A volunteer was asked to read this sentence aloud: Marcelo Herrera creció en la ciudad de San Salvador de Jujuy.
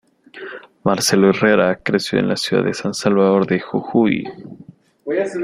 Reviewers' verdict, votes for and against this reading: accepted, 2, 1